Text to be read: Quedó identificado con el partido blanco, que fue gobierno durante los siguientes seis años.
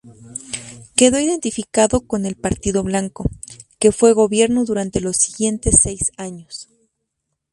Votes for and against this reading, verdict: 2, 0, accepted